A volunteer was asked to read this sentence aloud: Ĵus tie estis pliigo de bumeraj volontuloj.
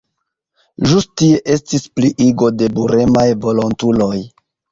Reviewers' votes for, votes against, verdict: 1, 2, rejected